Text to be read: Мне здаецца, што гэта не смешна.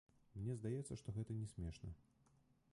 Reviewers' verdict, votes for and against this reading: rejected, 1, 2